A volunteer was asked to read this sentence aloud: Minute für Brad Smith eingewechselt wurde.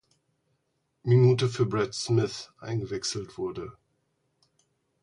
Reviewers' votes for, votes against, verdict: 4, 0, accepted